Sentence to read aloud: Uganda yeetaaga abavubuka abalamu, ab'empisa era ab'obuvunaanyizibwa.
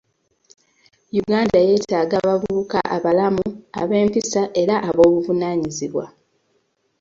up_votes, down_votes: 2, 0